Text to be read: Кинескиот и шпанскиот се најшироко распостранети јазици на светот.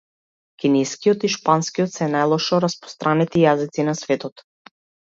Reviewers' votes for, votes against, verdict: 0, 2, rejected